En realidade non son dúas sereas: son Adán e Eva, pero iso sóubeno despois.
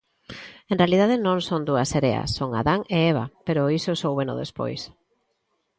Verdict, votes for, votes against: accepted, 2, 0